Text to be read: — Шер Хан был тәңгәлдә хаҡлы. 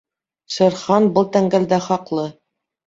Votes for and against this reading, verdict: 2, 0, accepted